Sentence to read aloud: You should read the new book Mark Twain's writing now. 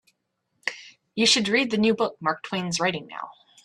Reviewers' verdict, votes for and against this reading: accepted, 2, 0